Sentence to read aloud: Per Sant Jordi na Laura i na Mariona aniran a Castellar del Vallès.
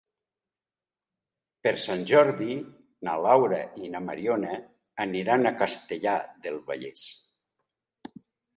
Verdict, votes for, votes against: accepted, 2, 0